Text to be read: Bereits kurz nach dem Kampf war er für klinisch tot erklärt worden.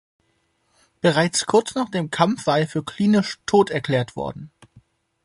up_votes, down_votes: 2, 0